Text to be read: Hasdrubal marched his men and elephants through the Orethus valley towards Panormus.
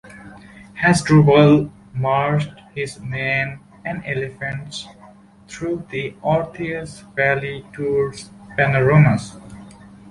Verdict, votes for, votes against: rejected, 0, 2